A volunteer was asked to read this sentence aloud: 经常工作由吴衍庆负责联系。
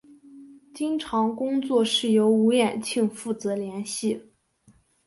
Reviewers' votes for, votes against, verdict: 5, 0, accepted